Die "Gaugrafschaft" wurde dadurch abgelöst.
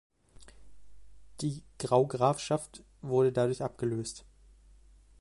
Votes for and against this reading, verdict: 0, 2, rejected